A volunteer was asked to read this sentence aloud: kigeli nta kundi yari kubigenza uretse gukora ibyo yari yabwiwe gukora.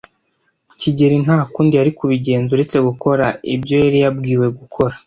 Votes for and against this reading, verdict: 2, 0, accepted